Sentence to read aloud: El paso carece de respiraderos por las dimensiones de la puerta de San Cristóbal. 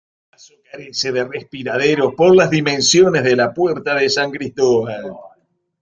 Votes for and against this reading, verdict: 0, 2, rejected